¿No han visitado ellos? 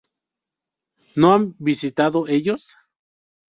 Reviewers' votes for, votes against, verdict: 2, 2, rejected